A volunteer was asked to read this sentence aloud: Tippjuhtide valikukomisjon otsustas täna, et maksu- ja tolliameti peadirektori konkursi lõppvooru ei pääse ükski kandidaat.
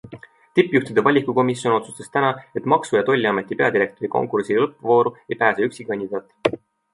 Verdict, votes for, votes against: accepted, 3, 0